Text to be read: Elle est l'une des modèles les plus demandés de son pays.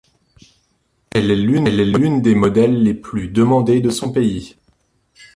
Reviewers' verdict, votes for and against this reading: rejected, 0, 2